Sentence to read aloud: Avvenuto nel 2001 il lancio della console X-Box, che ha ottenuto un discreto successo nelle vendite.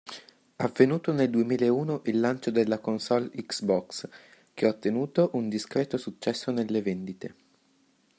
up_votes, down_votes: 0, 2